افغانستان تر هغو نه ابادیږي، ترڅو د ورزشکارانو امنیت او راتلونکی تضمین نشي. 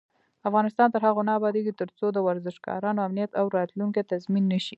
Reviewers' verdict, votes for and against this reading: rejected, 1, 2